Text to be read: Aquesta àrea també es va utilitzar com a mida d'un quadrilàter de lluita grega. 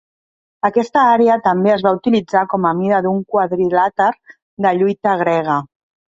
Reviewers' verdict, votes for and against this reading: accepted, 3, 0